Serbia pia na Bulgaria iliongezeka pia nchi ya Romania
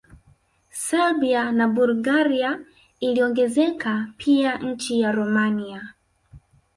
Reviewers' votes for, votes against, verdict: 3, 0, accepted